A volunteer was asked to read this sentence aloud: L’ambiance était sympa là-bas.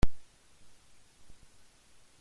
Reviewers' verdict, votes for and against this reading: rejected, 0, 2